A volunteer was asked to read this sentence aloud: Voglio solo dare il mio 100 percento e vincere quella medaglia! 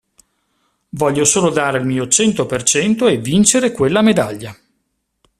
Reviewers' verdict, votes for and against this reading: rejected, 0, 2